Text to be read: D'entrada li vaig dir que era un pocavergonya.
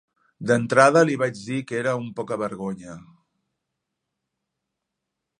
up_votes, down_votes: 2, 0